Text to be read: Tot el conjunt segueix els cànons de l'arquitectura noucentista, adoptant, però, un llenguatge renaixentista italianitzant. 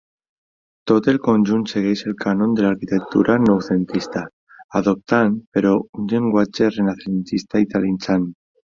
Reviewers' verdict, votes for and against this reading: rejected, 0, 2